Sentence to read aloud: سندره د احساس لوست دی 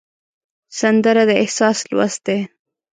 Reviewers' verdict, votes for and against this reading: accepted, 2, 0